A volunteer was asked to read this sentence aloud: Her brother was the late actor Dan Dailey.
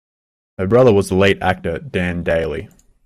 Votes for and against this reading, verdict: 2, 0, accepted